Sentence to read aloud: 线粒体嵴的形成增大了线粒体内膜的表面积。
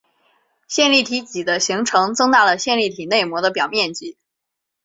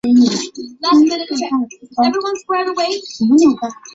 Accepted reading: first